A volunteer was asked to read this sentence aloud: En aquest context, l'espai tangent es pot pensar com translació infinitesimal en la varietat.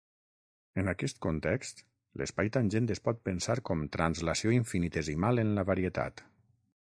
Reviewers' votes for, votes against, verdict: 6, 0, accepted